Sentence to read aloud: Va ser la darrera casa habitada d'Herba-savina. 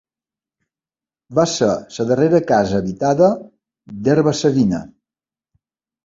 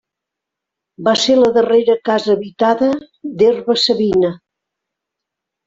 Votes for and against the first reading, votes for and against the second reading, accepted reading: 0, 2, 2, 0, second